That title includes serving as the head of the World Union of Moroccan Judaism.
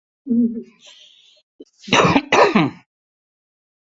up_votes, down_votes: 0, 2